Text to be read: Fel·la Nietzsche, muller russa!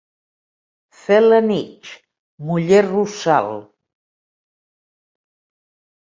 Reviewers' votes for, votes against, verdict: 0, 2, rejected